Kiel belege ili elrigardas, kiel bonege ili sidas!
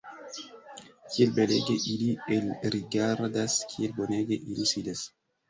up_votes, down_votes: 3, 1